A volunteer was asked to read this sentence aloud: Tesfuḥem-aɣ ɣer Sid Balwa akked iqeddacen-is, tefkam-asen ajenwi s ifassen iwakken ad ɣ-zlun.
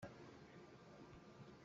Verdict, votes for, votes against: rejected, 0, 2